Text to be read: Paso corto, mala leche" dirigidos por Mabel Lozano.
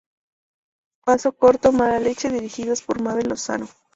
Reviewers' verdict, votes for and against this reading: accepted, 2, 0